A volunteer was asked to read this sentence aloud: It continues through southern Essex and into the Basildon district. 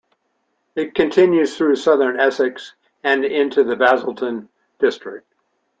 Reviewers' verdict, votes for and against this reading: accepted, 2, 0